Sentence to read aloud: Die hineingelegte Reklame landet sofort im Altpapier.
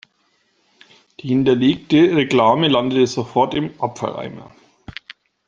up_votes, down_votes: 0, 2